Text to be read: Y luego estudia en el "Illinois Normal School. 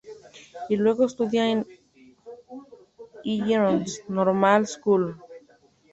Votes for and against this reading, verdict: 0, 2, rejected